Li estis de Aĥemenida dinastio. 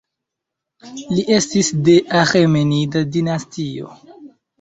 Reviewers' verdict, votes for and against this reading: accepted, 2, 0